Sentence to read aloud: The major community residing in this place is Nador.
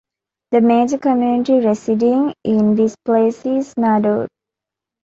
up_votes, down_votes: 2, 0